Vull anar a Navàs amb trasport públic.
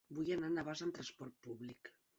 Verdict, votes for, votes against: accepted, 3, 1